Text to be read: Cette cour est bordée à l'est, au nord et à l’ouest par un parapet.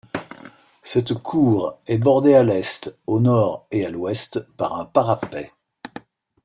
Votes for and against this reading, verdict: 2, 0, accepted